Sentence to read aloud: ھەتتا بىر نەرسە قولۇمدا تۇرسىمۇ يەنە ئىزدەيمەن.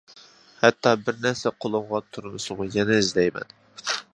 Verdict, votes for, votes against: rejected, 0, 2